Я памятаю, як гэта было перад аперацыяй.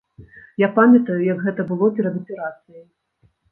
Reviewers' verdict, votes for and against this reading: rejected, 1, 2